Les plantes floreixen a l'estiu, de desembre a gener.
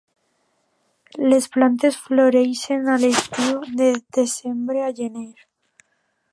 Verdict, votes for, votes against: accepted, 2, 0